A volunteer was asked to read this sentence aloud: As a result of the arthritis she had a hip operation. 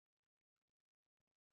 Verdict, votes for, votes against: rejected, 0, 2